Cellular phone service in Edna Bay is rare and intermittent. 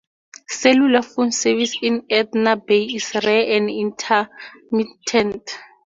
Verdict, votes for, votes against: accepted, 2, 0